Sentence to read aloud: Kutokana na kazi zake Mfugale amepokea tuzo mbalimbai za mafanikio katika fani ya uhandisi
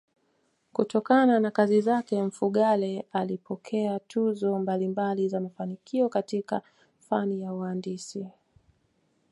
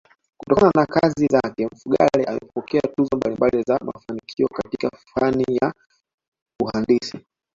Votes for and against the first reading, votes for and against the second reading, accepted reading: 2, 0, 0, 2, first